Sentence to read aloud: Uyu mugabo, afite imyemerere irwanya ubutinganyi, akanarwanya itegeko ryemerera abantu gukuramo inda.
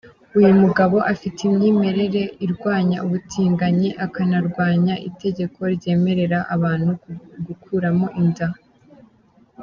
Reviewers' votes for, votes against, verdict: 2, 0, accepted